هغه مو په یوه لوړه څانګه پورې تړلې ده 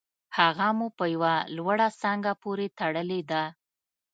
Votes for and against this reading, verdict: 2, 0, accepted